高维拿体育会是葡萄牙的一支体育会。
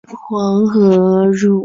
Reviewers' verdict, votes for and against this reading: rejected, 2, 3